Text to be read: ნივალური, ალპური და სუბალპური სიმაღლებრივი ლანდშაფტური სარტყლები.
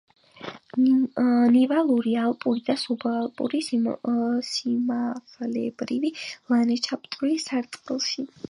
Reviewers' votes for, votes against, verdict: 1, 4, rejected